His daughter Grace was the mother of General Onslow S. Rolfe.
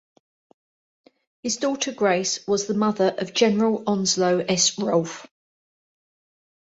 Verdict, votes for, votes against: accepted, 2, 0